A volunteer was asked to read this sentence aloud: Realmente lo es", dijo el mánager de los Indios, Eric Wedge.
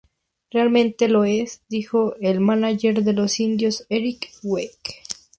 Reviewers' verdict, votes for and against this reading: rejected, 0, 2